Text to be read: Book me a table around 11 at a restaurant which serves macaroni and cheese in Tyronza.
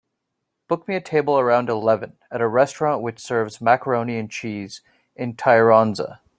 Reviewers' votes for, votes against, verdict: 0, 2, rejected